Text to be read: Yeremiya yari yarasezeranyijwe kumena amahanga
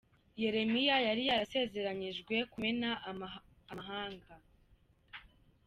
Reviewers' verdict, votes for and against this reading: rejected, 1, 2